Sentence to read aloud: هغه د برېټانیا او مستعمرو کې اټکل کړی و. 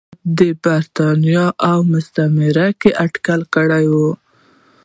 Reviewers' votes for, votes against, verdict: 0, 2, rejected